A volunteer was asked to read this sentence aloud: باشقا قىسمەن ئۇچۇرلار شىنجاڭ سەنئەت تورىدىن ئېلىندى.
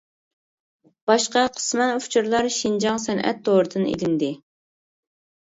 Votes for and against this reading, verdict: 2, 0, accepted